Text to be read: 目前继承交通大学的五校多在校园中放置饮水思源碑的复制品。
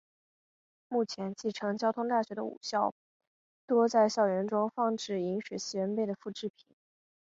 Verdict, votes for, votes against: accepted, 5, 0